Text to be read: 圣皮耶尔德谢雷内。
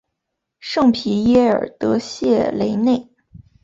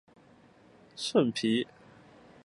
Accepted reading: first